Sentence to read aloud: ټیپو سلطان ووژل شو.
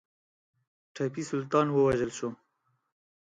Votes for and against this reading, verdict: 0, 4, rejected